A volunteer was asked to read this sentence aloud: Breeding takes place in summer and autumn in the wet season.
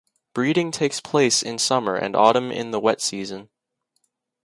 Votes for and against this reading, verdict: 2, 0, accepted